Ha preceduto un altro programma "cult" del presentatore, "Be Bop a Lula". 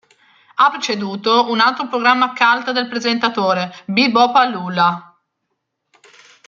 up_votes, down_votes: 2, 1